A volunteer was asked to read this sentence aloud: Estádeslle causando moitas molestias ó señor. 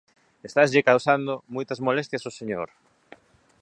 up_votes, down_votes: 0, 2